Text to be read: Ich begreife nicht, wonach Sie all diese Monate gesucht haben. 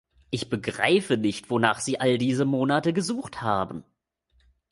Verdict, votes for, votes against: accepted, 2, 0